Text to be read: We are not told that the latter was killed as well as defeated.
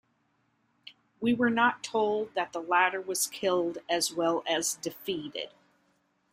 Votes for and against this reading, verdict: 0, 2, rejected